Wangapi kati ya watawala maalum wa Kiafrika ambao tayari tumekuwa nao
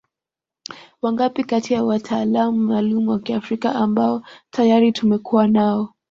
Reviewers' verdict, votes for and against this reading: rejected, 1, 2